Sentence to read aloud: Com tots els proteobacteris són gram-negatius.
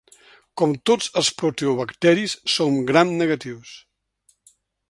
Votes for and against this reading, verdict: 4, 0, accepted